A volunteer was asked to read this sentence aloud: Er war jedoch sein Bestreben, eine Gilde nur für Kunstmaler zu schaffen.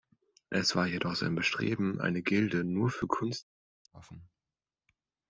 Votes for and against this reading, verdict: 0, 2, rejected